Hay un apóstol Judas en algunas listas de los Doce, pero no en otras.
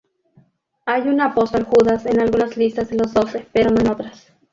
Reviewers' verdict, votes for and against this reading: accepted, 2, 0